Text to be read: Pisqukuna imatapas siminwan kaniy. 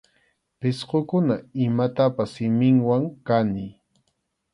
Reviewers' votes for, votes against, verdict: 2, 0, accepted